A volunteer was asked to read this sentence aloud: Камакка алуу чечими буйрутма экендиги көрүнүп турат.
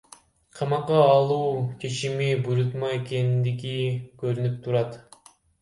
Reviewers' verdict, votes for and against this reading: rejected, 1, 2